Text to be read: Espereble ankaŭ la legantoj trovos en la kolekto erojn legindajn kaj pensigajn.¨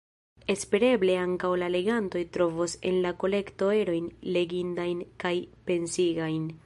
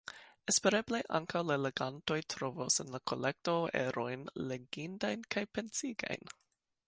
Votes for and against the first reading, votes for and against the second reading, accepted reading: 1, 2, 2, 1, second